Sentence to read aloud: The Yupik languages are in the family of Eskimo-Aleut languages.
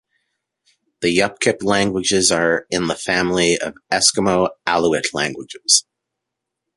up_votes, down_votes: 0, 2